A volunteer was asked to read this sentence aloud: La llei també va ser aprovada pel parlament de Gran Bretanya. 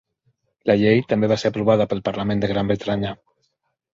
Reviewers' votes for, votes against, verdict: 1, 2, rejected